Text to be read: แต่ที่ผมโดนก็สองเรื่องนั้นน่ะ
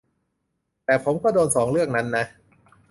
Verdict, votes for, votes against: rejected, 0, 2